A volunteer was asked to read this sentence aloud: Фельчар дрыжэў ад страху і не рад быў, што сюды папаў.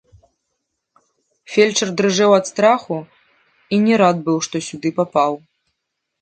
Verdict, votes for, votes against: rejected, 1, 2